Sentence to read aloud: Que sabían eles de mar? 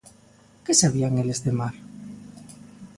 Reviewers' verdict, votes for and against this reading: accepted, 4, 0